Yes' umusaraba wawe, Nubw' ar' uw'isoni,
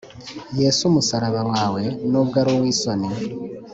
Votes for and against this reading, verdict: 2, 0, accepted